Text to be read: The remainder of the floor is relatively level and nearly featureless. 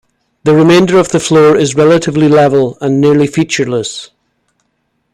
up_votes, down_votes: 2, 0